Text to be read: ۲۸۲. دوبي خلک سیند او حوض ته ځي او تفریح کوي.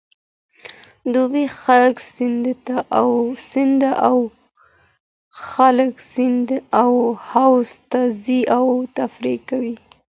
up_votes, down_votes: 0, 2